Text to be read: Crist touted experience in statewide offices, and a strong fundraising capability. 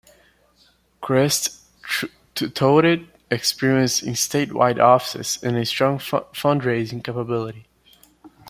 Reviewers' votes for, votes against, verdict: 0, 2, rejected